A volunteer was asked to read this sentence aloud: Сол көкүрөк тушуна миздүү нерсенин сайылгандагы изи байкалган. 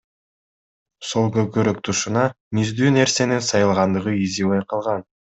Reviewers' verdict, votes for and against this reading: accepted, 2, 0